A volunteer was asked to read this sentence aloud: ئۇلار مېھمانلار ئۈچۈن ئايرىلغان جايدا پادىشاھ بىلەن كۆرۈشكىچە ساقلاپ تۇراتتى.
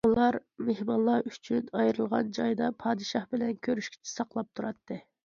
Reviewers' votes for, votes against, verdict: 2, 0, accepted